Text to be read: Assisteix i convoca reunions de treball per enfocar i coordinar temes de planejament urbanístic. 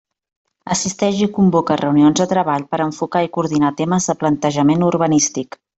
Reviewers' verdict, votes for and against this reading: rejected, 0, 2